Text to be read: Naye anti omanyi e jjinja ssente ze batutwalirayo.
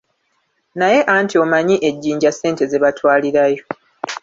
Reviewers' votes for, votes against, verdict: 1, 2, rejected